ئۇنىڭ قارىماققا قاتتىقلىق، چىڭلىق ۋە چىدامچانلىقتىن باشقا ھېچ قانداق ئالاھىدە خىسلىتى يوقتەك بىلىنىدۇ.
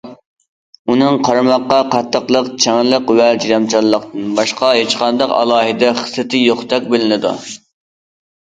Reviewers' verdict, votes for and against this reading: accepted, 2, 0